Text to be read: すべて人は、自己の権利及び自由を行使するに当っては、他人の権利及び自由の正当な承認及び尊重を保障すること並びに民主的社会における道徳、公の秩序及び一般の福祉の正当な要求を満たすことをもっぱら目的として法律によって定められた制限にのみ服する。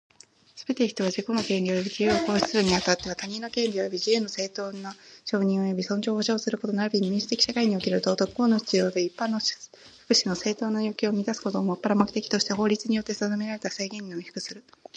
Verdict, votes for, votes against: accepted, 2, 0